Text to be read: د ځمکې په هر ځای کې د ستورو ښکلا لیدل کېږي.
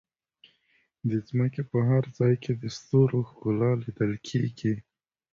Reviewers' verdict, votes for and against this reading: accepted, 2, 0